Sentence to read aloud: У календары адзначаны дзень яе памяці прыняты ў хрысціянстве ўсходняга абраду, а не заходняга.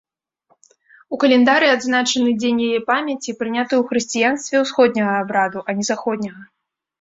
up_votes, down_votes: 0, 2